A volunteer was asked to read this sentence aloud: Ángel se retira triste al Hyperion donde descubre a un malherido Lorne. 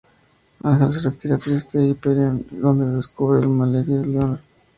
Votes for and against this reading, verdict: 0, 2, rejected